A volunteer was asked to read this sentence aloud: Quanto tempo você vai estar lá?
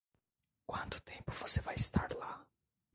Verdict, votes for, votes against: rejected, 1, 2